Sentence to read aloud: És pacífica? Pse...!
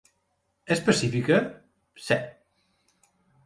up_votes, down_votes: 3, 0